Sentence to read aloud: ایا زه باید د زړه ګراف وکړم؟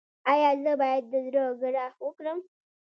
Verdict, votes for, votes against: rejected, 2, 3